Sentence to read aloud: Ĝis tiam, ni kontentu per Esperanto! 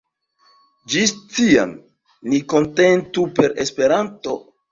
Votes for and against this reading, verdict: 1, 2, rejected